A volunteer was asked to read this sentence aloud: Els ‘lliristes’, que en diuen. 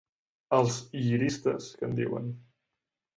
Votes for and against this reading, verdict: 4, 0, accepted